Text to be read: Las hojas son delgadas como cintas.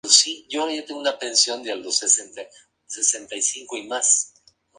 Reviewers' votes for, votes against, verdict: 0, 2, rejected